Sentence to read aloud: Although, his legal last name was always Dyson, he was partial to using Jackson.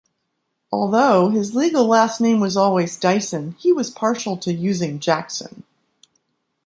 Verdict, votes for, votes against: accepted, 2, 0